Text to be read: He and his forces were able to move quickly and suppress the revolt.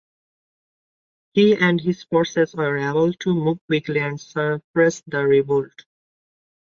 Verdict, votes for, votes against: accepted, 2, 0